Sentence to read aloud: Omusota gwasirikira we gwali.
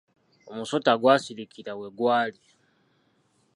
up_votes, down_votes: 2, 0